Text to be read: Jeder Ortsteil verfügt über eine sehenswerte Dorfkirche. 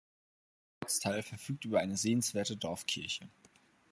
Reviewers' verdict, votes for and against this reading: rejected, 0, 2